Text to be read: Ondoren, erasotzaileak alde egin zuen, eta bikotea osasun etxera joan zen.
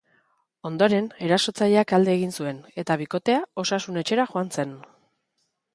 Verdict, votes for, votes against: accepted, 3, 0